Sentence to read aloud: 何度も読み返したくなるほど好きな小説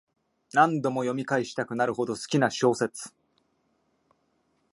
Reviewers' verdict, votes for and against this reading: accepted, 2, 0